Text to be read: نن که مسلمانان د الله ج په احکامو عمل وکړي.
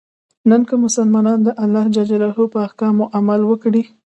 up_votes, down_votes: 2, 0